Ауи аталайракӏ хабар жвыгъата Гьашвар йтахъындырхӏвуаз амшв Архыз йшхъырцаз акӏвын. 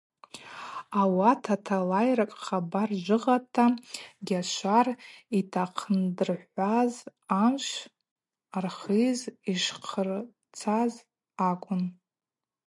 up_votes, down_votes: 4, 0